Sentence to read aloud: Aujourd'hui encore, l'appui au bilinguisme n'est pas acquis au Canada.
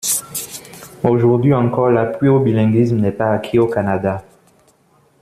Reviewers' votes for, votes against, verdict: 1, 2, rejected